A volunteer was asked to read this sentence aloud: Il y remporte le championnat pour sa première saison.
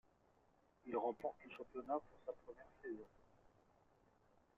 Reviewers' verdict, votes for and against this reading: rejected, 1, 2